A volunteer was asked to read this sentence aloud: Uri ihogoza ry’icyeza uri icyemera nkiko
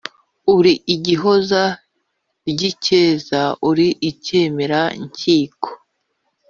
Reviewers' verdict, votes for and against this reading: rejected, 1, 2